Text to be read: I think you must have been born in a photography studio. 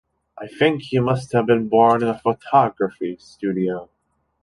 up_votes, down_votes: 2, 0